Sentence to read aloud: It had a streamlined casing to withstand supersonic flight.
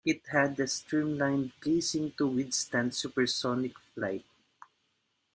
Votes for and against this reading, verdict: 2, 0, accepted